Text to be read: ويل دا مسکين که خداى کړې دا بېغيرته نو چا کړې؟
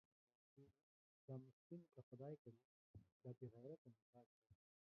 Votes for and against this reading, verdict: 1, 2, rejected